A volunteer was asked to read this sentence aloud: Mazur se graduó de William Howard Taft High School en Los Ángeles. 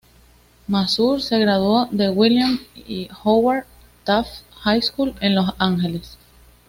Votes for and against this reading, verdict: 1, 2, rejected